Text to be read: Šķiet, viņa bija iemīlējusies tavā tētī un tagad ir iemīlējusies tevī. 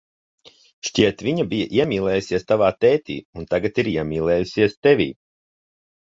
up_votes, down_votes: 2, 0